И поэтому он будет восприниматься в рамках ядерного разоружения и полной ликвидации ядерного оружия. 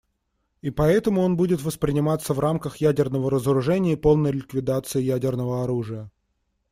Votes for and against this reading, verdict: 2, 0, accepted